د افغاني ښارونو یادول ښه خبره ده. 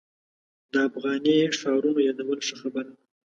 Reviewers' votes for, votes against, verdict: 1, 2, rejected